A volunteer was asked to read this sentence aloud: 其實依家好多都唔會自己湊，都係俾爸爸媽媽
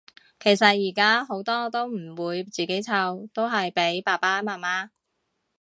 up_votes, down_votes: 0, 2